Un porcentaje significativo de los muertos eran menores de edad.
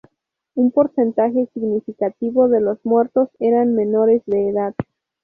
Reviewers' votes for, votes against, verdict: 0, 2, rejected